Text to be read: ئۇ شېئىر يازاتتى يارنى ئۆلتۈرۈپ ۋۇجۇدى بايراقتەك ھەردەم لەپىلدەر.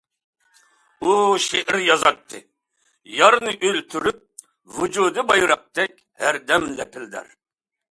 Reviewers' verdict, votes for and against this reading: accepted, 2, 0